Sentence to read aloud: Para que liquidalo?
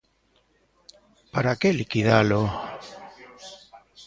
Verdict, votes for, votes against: rejected, 0, 2